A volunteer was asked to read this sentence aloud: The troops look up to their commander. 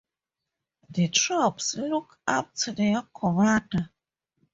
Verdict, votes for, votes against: rejected, 2, 2